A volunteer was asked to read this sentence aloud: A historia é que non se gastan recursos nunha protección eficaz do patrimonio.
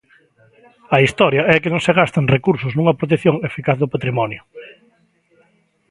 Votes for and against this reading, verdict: 2, 0, accepted